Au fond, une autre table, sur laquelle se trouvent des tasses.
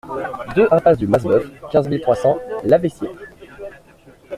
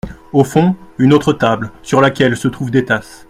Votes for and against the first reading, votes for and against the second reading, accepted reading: 0, 2, 2, 0, second